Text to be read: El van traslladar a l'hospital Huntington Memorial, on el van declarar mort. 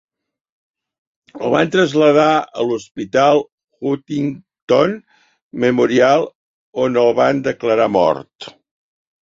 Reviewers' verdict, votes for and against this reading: rejected, 0, 3